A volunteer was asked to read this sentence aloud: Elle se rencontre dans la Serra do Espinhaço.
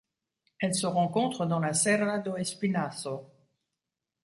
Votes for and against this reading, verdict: 2, 0, accepted